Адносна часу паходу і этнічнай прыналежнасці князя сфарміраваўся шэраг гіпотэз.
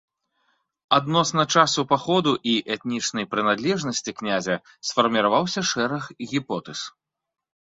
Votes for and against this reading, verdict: 1, 2, rejected